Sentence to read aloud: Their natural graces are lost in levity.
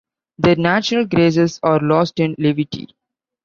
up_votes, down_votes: 2, 0